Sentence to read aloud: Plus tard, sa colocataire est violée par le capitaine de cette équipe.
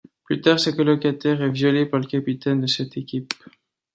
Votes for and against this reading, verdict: 2, 0, accepted